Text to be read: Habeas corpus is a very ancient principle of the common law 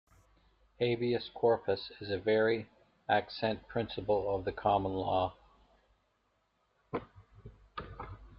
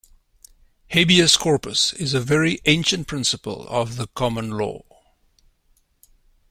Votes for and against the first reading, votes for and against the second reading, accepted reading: 0, 2, 2, 0, second